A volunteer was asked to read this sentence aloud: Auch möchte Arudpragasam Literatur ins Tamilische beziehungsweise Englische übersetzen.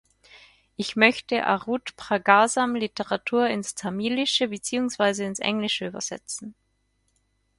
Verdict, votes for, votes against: rejected, 0, 4